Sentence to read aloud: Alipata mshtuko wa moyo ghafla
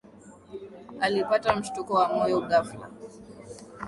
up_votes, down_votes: 18, 1